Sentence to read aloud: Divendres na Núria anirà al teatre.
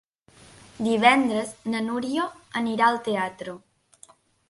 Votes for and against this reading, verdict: 3, 1, accepted